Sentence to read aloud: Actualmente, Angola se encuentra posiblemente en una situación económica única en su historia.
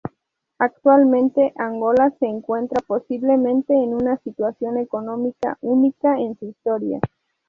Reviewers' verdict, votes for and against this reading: accepted, 2, 0